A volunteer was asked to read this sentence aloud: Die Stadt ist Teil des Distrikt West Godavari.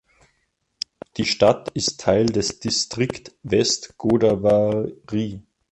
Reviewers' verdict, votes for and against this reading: accepted, 2, 1